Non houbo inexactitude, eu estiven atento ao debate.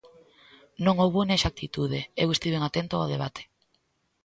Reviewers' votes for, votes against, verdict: 2, 0, accepted